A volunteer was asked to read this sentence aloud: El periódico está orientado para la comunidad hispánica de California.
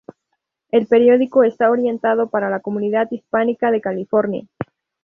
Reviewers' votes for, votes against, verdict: 0, 2, rejected